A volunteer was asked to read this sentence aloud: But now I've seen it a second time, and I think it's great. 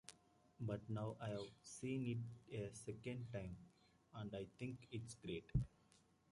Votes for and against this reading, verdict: 2, 1, accepted